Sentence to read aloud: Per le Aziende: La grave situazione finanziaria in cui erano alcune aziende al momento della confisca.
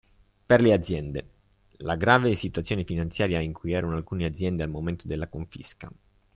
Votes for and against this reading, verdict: 2, 1, accepted